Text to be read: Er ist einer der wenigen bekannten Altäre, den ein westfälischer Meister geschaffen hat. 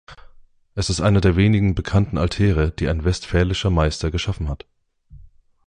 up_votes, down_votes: 1, 2